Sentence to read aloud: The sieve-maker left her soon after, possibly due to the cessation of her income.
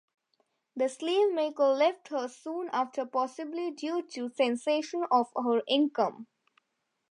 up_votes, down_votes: 2, 0